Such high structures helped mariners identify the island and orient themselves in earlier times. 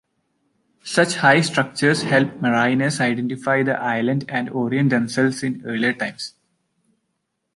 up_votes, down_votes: 1, 2